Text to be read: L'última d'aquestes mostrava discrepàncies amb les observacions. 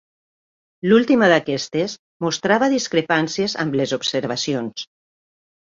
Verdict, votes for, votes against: accepted, 2, 0